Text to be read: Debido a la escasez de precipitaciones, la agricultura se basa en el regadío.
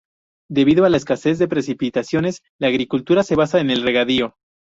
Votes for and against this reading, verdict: 4, 0, accepted